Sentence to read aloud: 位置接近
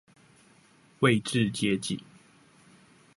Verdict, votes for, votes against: accepted, 2, 0